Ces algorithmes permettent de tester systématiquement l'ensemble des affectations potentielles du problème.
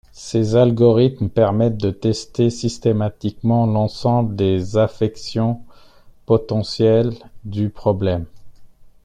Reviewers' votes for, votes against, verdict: 1, 2, rejected